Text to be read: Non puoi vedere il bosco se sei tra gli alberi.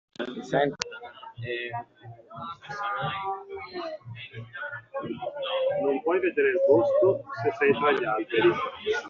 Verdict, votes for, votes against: rejected, 0, 2